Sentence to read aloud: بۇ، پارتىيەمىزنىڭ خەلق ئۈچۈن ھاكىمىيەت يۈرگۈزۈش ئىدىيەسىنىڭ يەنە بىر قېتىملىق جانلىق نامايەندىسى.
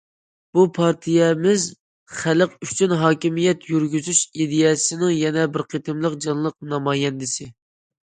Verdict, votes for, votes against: rejected, 0, 2